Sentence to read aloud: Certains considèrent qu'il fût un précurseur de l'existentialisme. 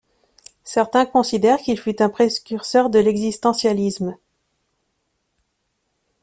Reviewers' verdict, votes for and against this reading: rejected, 1, 2